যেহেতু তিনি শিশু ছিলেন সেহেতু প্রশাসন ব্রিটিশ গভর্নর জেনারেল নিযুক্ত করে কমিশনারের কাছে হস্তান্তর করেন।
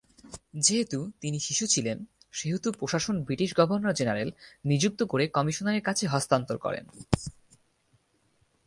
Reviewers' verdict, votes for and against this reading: accepted, 4, 0